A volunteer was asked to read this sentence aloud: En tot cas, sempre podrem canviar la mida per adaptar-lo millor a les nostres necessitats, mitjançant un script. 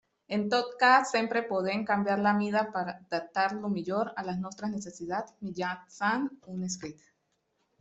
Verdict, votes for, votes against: rejected, 1, 2